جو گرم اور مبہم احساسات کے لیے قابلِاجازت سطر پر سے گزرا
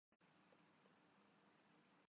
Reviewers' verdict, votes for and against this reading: rejected, 0, 9